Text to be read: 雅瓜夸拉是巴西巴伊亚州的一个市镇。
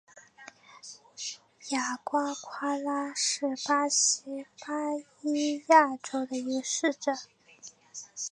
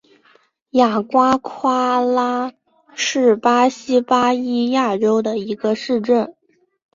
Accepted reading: second